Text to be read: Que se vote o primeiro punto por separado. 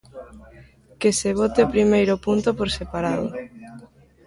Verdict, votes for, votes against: rejected, 1, 2